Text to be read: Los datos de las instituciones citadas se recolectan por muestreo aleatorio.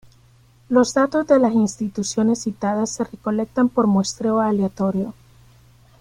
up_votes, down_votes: 2, 0